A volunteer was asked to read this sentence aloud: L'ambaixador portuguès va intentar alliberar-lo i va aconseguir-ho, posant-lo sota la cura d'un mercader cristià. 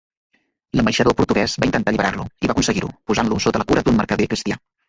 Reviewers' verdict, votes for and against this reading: rejected, 0, 2